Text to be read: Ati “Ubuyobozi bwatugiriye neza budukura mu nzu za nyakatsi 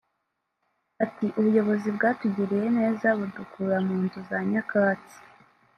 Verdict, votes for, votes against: rejected, 0, 2